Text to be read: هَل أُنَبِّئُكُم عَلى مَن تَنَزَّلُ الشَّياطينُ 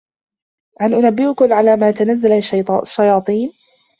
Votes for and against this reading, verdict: 0, 2, rejected